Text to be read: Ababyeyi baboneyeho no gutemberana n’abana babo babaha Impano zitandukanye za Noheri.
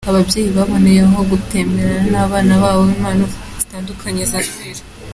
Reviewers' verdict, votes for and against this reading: rejected, 0, 2